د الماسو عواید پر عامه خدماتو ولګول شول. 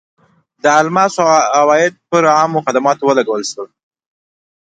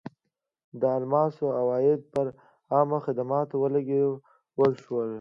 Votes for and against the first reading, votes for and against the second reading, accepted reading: 2, 0, 1, 2, first